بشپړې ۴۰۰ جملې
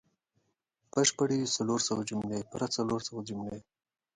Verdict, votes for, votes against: rejected, 0, 2